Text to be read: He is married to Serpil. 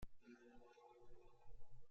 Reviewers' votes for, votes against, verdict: 0, 2, rejected